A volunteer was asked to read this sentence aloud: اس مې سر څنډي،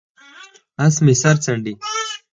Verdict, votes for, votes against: accepted, 4, 0